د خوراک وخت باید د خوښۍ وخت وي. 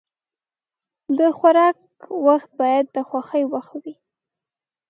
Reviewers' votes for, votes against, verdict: 2, 0, accepted